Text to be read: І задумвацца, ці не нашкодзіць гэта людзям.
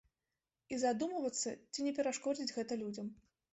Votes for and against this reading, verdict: 0, 2, rejected